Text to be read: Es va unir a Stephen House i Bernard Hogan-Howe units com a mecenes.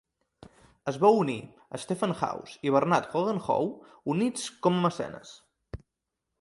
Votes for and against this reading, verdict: 2, 0, accepted